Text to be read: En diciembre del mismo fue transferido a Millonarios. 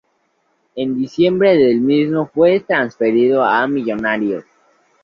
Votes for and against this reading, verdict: 2, 0, accepted